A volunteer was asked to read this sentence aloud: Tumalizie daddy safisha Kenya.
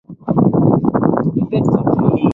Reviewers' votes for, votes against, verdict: 0, 2, rejected